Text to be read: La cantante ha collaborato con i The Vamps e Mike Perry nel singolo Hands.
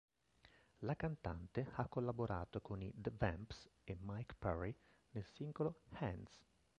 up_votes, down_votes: 1, 2